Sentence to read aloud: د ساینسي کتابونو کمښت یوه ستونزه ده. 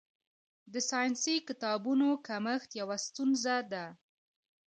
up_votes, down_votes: 0, 2